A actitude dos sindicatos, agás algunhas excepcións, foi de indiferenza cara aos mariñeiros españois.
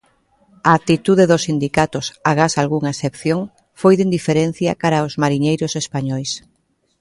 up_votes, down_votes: 1, 2